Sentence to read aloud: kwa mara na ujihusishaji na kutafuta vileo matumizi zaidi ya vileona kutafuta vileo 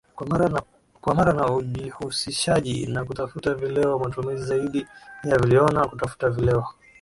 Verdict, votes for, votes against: rejected, 0, 3